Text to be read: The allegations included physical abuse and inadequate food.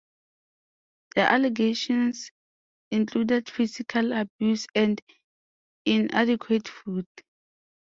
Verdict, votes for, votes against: accepted, 2, 0